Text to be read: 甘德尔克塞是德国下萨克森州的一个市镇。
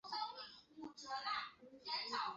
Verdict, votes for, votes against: rejected, 1, 3